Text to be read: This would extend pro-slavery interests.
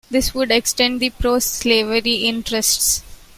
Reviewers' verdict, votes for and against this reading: rejected, 1, 2